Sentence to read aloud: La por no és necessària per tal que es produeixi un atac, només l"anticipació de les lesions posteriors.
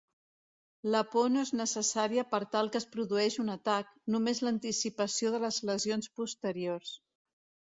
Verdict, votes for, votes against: accepted, 2, 0